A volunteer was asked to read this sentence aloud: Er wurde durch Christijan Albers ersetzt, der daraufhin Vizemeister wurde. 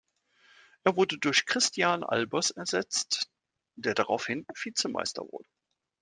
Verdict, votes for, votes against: accepted, 2, 1